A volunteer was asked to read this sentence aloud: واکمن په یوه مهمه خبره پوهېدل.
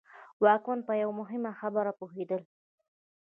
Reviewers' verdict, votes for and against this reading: rejected, 1, 2